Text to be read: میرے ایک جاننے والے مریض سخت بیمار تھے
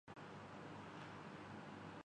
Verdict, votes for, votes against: rejected, 0, 3